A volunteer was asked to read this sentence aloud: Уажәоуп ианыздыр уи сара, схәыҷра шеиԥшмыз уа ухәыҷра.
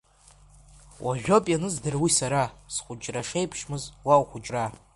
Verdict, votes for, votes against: rejected, 0, 2